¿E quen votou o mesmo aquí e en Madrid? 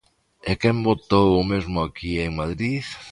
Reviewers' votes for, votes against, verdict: 2, 0, accepted